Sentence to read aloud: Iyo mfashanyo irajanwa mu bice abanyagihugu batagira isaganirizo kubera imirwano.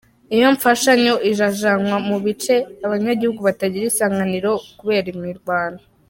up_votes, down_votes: 2, 1